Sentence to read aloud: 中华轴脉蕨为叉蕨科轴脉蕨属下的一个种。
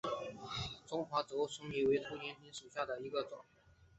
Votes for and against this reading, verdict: 0, 7, rejected